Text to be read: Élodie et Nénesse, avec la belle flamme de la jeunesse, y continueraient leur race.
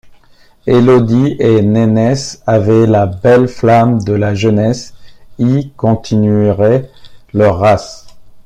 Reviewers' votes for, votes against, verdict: 1, 2, rejected